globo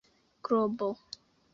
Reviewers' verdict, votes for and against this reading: rejected, 1, 2